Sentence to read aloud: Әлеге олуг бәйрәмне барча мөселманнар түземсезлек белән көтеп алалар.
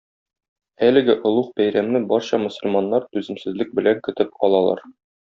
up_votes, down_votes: 2, 0